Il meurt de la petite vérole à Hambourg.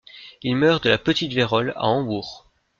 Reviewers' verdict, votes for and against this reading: accepted, 2, 1